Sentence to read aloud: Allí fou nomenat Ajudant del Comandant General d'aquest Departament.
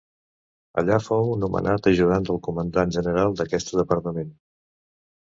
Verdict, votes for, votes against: rejected, 1, 2